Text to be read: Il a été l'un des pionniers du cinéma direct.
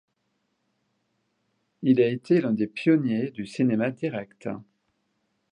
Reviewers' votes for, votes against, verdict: 2, 1, accepted